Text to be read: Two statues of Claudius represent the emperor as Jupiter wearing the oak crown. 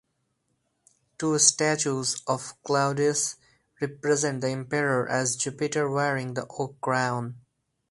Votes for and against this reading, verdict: 4, 0, accepted